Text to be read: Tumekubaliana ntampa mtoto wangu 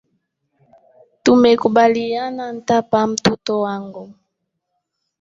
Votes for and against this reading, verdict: 2, 3, rejected